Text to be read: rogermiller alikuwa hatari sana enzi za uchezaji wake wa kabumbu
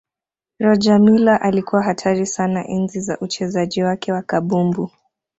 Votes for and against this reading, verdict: 2, 0, accepted